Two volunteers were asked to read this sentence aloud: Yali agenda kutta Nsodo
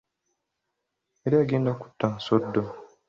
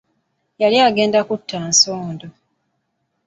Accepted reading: first